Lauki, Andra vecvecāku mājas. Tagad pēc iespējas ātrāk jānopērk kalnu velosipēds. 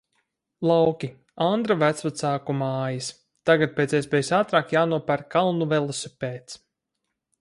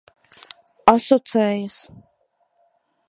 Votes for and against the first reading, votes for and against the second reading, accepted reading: 4, 0, 0, 2, first